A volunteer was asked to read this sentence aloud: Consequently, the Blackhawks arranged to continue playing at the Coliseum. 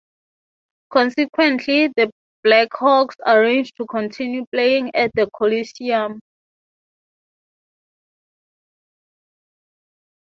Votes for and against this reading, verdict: 6, 0, accepted